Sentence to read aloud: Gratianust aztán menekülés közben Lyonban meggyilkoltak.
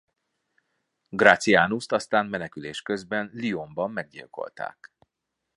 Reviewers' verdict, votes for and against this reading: accepted, 2, 0